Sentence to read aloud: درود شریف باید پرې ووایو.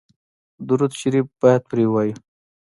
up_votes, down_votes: 2, 0